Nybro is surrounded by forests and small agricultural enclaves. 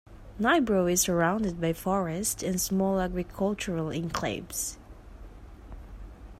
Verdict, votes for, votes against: accepted, 2, 1